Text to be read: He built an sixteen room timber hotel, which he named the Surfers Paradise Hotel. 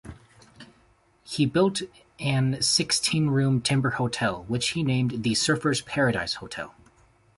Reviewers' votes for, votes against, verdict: 2, 0, accepted